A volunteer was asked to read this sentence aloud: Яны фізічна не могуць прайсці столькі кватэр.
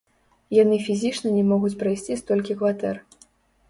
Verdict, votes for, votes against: rejected, 0, 2